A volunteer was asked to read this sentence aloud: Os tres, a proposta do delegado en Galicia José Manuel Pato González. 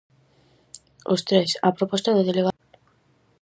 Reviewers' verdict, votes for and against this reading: rejected, 0, 4